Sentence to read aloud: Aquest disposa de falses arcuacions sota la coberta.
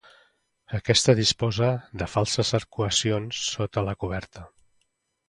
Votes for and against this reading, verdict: 0, 2, rejected